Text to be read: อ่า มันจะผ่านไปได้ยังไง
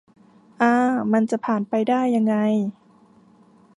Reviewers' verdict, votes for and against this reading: accepted, 2, 1